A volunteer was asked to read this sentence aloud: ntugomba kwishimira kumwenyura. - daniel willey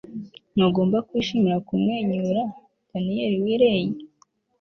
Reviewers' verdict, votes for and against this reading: accepted, 2, 0